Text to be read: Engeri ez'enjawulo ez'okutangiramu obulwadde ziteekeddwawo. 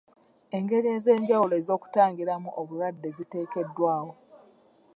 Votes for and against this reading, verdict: 2, 0, accepted